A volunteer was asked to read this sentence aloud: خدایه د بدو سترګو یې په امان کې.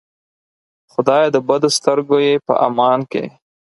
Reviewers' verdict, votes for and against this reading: accepted, 4, 0